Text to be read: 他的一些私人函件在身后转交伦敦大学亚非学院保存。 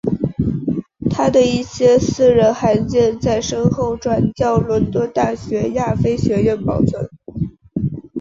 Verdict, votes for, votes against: accepted, 3, 0